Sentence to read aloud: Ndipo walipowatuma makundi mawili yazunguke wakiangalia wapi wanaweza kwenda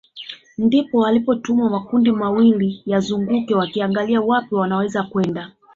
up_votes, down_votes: 2, 0